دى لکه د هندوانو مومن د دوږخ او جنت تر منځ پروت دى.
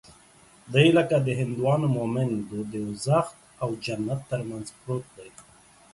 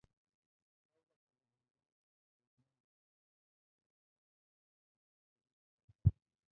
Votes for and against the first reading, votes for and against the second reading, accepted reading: 2, 1, 0, 2, first